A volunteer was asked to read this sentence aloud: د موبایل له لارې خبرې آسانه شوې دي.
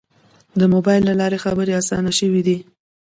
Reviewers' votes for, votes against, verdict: 0, 2, rejected